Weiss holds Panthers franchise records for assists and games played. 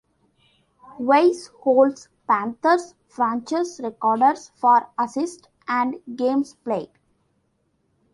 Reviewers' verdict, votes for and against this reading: rejected, 1, 2